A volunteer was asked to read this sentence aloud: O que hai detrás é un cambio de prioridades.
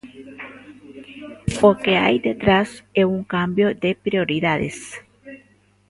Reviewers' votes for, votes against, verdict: 2, 1, accepted